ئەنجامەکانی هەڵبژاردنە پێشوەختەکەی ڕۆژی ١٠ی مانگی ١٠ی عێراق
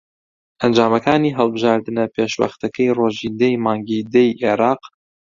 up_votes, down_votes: 0, 2